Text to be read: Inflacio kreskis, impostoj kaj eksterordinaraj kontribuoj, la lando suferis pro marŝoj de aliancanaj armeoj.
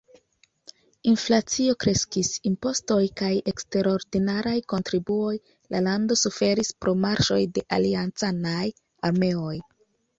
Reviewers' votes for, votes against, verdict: 2, 0, accepted